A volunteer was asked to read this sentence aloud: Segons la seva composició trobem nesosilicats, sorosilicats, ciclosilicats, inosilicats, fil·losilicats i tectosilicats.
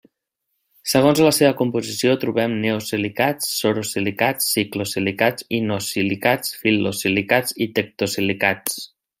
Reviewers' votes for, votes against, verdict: 2, 0, accepted